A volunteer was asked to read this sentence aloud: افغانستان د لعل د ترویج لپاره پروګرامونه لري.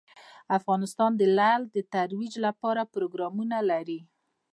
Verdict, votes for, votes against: rejected, 0, 2